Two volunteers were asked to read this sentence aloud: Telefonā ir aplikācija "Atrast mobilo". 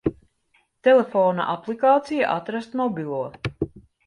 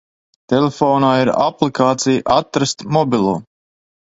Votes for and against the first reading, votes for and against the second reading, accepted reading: 0, 2, 2, 0, second